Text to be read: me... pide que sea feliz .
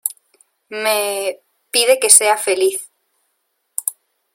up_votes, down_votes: 2, 0